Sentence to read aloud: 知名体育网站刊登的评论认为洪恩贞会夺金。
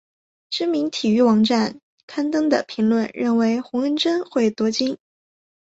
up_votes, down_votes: 3, 0